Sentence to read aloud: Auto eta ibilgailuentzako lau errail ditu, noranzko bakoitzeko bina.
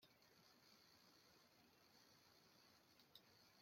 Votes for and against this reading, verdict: 0, 2, rejected